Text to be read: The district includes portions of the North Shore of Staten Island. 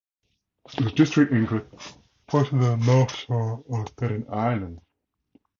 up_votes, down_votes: 0, 4